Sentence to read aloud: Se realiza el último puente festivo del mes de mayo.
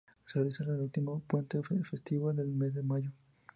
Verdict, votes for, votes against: accepted, 2, 0